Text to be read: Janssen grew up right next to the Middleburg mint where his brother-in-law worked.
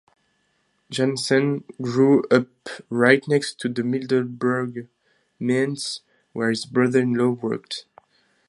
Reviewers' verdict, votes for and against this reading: rejected, 0, 4